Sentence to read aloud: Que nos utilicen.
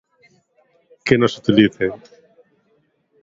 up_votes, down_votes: 2, 0